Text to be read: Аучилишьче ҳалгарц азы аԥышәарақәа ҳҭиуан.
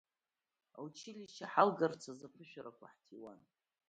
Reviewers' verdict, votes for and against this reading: rejected, 1, 2